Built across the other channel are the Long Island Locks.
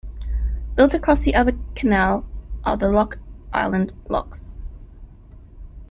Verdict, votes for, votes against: rejected, 1, 2